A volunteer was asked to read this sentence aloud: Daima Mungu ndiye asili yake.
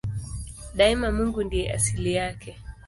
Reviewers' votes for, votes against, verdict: 3, 0, accepted